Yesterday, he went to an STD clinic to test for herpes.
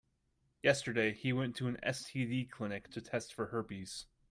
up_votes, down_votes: 2, 0